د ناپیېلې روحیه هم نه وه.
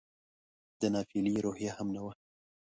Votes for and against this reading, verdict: 2, 0, accepted